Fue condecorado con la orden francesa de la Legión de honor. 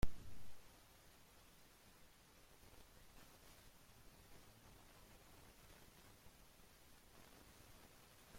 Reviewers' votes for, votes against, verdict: 0, 2, rejected